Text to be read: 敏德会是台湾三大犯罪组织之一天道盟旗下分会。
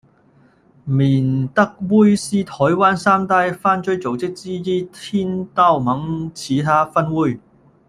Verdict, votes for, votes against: rejected, 0, 2